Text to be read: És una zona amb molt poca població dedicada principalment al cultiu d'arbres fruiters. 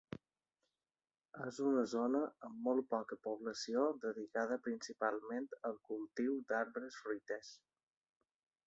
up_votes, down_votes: 0, 2